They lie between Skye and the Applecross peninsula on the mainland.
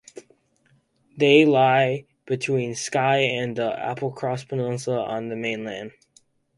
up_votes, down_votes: 4, 0